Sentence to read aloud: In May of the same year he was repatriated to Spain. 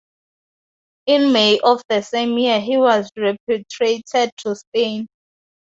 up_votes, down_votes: 2, 0